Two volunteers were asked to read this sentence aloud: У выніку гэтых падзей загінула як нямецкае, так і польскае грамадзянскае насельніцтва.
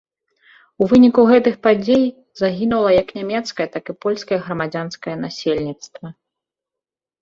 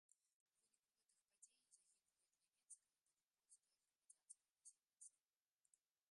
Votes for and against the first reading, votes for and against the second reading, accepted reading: 2, 0, 0, 2, first